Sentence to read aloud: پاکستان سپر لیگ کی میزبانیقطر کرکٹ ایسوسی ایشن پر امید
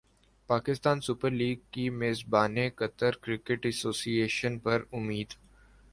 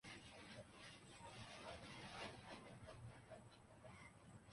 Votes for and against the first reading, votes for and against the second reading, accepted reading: 2, 1, 0, 3, first